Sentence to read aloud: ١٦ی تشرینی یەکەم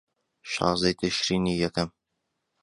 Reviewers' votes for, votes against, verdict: 0, 2, rejected